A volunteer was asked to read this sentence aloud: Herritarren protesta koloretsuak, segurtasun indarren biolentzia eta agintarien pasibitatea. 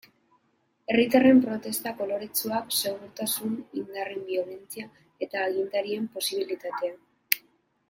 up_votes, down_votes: 1, 2